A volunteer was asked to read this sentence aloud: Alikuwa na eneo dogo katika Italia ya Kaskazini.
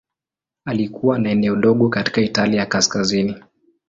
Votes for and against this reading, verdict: 3, 0, accepted